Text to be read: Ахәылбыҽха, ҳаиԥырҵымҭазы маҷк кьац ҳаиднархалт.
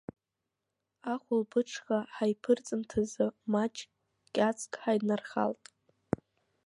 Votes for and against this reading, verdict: 2, 0, accepted